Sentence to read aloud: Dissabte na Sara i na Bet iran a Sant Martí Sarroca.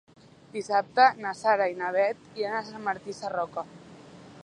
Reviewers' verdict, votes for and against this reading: accepted, 3, 0